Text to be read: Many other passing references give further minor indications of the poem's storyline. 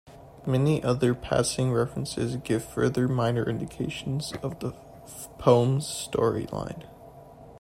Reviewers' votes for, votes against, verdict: 2, 0, accepted